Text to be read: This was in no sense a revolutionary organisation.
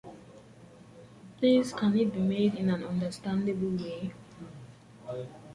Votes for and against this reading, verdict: 0, 2, rejected